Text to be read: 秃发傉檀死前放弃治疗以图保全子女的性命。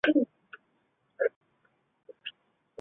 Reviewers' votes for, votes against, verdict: 0, 3, rejected